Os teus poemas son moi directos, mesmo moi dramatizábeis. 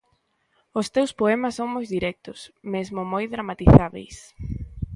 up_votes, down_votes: 1, 2